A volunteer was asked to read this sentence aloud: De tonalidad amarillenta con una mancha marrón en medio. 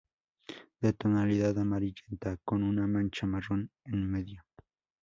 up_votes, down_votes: 2, 2